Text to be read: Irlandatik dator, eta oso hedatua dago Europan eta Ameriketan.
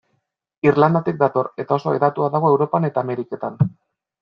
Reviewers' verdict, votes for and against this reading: accepted, 2, 0